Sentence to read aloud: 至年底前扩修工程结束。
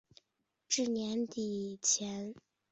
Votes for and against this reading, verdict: 0, 2, rejected